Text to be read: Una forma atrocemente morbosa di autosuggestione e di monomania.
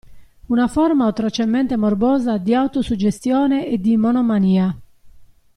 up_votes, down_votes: 2, 0